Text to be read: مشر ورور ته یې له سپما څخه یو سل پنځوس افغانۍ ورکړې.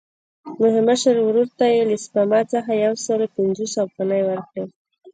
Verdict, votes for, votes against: rejected, 1, 2